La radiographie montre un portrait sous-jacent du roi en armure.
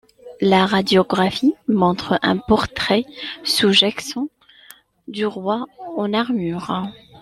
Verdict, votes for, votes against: rejected, 1, 2